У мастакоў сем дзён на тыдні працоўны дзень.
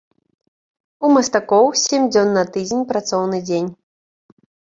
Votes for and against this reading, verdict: 1, 2, rejected